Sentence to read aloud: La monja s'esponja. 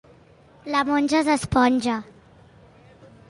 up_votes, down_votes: 2, 0